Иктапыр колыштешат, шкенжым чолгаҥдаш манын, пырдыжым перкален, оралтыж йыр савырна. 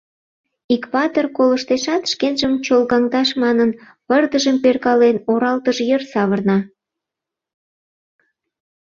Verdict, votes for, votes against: rejected, 1, 2